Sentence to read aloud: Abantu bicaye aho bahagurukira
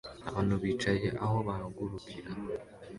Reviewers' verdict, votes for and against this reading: accepted, 2, 0